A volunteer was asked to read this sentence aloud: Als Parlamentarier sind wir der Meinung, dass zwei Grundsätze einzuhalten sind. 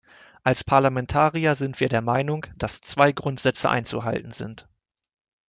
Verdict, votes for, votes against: accepted, 2, 0